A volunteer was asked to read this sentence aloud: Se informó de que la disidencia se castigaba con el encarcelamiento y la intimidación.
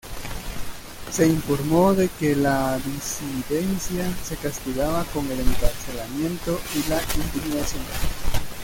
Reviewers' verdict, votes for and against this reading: rejected, 2, 3